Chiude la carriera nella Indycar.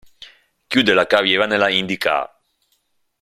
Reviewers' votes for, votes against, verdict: 2, 0, accepted